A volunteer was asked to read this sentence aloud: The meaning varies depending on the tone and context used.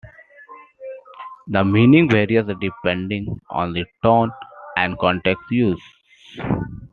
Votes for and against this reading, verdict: 2, 0, accepted